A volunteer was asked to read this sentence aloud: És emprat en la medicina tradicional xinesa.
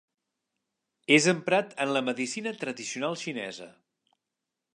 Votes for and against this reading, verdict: 4, 0, accepted